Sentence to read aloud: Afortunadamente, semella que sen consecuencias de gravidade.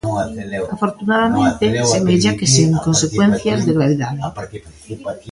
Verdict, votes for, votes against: rejected, 0, 2